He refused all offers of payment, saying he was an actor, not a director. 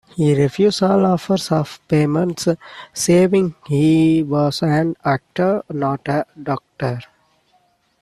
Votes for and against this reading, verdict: 0, 2, rejected